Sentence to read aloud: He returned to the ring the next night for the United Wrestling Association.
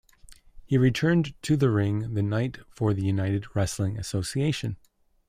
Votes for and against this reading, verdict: 1, 2, rejected